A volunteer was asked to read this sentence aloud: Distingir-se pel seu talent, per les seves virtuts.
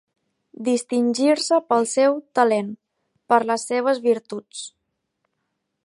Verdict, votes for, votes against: accepted, 4, 1